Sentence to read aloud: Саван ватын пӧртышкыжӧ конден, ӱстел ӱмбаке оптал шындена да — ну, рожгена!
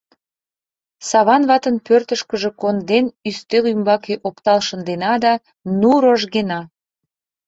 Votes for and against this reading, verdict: 2, 0, accepted